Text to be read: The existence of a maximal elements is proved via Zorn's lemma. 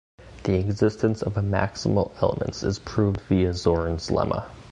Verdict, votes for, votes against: rejected, 1, 2